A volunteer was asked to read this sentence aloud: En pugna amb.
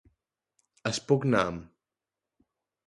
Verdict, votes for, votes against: rejected, 0, 2